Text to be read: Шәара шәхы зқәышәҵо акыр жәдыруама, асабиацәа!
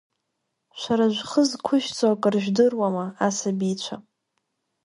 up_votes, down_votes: 0, 2